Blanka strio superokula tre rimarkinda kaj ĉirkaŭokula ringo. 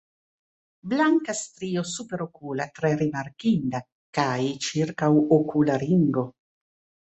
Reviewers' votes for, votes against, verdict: 1, 2, rejected